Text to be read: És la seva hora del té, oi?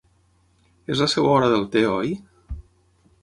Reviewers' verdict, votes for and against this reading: rejected, 3, 6